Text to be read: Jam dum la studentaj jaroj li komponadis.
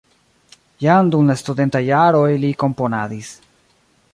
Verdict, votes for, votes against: accepted, 2, 0